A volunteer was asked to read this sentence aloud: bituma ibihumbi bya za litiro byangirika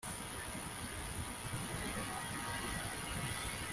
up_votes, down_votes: 0, 2